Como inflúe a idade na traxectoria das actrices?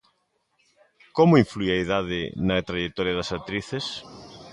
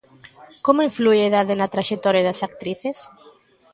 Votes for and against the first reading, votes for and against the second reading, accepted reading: 0, 2, 2, 0, second